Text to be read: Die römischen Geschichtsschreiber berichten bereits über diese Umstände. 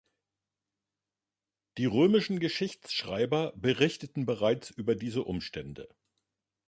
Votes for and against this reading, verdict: 1, 2, rejected